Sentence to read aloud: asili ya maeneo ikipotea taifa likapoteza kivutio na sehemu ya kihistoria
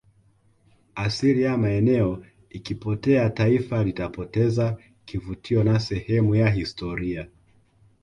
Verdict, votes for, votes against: rejected, 1, 2